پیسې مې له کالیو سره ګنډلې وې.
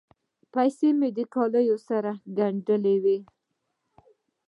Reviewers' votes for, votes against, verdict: 2, 0, accepted